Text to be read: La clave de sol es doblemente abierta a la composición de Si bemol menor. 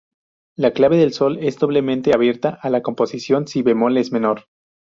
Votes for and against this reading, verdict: 0, 2, rejected